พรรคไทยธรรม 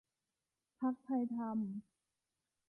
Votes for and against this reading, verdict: 3, 0, accepted